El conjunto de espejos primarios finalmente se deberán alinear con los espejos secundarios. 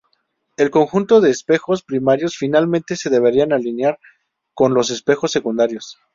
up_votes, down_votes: 2, 0